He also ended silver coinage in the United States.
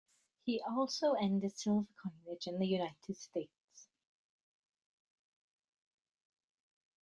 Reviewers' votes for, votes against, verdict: 1, 2, rejected